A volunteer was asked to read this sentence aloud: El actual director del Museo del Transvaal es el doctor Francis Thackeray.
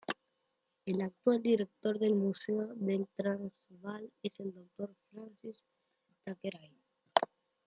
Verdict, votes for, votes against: rejected, 1, 2